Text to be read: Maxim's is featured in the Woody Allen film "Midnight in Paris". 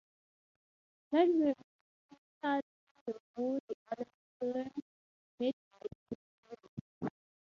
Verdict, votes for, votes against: accepted, 3, 0